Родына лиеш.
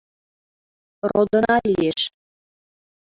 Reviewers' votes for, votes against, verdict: 0, 2, rejected